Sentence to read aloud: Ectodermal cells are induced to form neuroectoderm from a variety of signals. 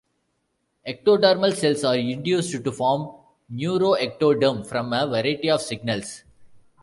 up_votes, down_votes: 2, 0